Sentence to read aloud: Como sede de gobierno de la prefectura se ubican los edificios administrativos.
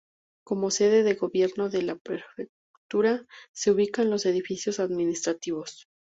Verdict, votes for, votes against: rejected, 0, 2